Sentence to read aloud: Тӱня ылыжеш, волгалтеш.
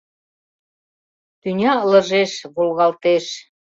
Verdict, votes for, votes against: accepted, 2, 0